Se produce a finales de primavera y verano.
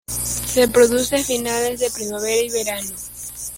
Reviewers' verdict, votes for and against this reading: accepted, 2, 1